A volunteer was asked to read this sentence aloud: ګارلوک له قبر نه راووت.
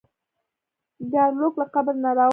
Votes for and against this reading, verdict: 1, 2, rejected